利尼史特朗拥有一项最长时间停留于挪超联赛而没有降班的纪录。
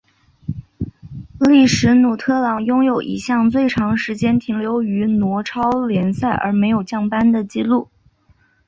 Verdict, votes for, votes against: accepted, 3, 1